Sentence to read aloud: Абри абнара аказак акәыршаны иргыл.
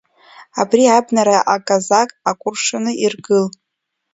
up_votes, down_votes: 1, 2